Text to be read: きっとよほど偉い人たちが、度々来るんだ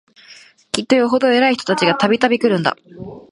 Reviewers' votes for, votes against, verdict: 3, 0, accepted